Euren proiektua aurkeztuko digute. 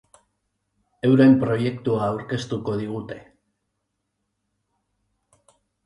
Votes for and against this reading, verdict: 3, 0, accepted